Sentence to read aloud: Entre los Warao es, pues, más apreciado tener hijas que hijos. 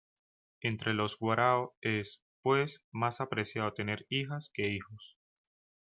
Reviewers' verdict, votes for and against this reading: accepted, 2, 0